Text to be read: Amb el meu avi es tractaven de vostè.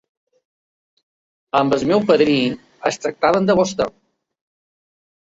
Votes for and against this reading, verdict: 1, 2, rejected